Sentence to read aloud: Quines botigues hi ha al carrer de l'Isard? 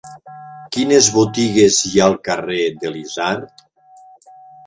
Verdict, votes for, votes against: rejected, 1, 2